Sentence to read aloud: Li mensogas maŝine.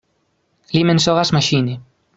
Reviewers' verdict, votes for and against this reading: accepted, 2, 0